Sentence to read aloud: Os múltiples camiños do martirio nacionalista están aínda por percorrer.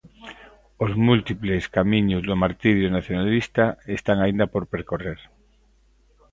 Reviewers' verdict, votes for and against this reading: accepted, 2, 0